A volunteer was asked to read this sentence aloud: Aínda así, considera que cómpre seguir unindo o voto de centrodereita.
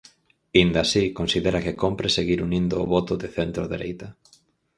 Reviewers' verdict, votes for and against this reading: accepted, 4, 0